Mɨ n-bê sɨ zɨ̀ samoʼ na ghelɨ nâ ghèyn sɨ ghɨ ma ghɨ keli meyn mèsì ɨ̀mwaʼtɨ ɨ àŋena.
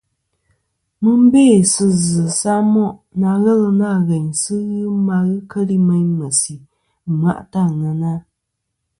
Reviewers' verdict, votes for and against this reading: accepted, 2, 0